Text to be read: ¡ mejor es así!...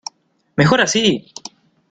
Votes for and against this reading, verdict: 0, 2, rejected